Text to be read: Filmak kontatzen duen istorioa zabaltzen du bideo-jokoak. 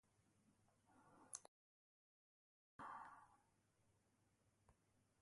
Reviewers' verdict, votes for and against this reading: rejected, 0, 2